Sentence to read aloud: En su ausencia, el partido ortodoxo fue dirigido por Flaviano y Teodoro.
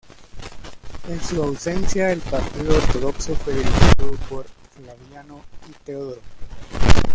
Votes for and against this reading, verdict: 2, 0, accepted